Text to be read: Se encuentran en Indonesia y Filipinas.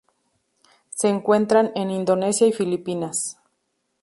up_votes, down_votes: 2, 0